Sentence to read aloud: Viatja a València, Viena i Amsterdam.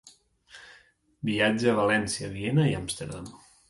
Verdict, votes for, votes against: accepted, 2, 0